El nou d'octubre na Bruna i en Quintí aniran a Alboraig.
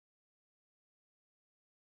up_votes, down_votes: 0, 2